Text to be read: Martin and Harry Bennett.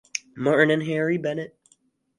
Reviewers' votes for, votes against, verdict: 4, 0, accepted